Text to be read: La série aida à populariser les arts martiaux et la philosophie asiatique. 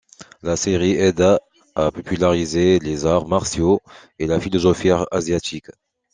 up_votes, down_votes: 2, 0